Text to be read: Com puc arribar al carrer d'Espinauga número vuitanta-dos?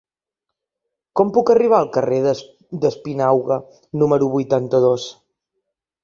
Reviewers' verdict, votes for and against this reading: rejected, 1, 2